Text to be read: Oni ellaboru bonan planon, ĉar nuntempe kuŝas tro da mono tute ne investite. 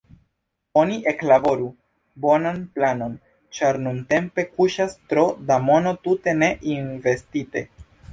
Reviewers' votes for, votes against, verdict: 1, 2, rejected